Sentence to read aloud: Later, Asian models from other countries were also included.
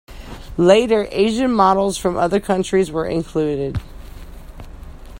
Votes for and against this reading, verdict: 1, 2, rejected